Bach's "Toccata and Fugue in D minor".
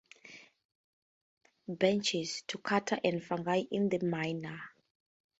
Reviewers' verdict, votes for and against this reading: rejected, 0, 4